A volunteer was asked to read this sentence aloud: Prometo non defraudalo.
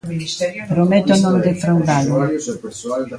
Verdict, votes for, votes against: rejected, 0, 2